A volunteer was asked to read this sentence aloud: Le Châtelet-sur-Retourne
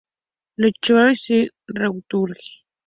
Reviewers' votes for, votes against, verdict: 0, 2, rejected